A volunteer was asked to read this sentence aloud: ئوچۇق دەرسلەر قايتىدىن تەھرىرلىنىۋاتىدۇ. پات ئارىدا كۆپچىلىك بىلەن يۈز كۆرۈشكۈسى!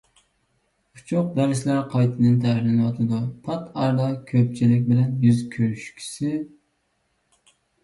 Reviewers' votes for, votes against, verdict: 2, 1, accepted